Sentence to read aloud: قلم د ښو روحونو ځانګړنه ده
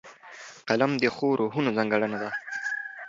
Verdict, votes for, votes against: accepted, 2, 0